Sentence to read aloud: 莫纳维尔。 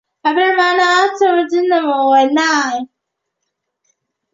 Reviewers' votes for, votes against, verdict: 0, 2, rejected